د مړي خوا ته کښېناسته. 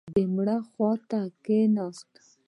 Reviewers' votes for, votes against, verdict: 1, 2, rejected